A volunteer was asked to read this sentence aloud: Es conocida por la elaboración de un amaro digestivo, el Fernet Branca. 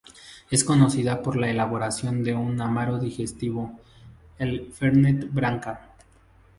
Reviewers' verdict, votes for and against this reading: accepted, 4, 0